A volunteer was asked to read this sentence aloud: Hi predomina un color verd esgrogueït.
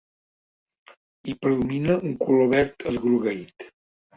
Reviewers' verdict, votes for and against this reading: rejected, 1, 2